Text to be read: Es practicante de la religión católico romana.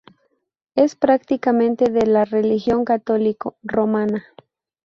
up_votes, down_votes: 0, 2